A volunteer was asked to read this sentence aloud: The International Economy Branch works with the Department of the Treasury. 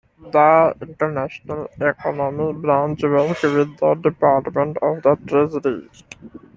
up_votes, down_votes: 0, 2